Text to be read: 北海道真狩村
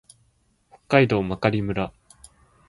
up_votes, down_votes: 2, 0